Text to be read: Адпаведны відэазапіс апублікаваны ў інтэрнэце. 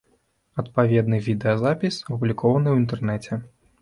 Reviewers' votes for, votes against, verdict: 1, 2, rejected